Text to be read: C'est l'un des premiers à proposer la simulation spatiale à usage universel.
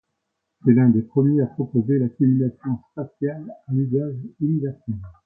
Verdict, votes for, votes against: rejected, 0, 2